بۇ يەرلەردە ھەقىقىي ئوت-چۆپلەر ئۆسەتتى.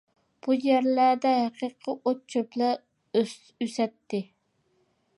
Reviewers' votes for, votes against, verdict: 1, 2, rejected